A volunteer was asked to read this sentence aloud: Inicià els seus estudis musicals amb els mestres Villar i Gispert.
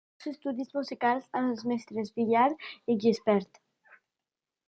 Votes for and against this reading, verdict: 0, 2, rejected